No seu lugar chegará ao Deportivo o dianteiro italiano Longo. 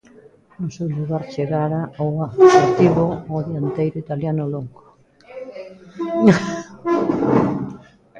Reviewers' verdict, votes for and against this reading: rejected, 0, 2